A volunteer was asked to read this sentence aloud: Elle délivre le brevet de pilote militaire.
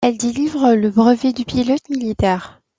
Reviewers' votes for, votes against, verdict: 1, 2, rejected